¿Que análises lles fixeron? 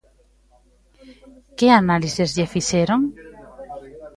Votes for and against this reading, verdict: 0, 2, rejected